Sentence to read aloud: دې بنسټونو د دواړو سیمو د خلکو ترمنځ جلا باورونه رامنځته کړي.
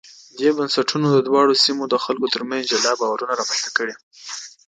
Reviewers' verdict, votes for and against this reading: accepted, 2, 0